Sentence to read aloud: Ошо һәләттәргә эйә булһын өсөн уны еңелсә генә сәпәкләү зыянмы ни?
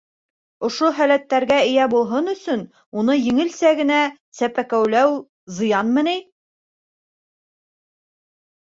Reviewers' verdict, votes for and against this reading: rejected, 1, 2